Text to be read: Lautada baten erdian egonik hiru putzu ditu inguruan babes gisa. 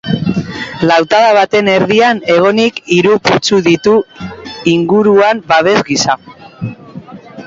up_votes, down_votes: 2, 1